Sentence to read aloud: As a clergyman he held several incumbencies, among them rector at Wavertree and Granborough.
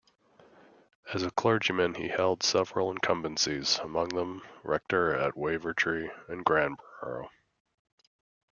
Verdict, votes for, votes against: accepted, 2, 1